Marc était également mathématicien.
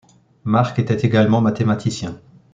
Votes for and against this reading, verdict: 2, 0, accepted